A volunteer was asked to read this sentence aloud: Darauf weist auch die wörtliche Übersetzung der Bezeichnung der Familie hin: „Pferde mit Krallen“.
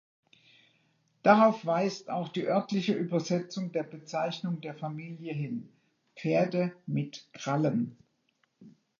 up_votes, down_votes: 0, 2